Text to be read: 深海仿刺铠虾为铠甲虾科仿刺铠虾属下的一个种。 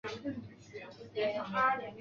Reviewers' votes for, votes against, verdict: 0, 2, rejected